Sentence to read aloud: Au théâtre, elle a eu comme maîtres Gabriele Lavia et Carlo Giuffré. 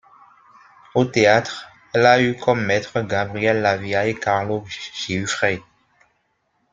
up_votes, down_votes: 2, 0